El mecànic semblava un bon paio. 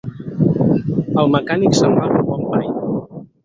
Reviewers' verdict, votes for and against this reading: accepted, 4, 2